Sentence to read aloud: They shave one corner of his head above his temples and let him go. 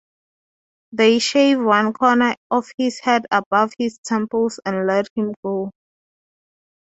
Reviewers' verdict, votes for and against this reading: accepted, 6, 0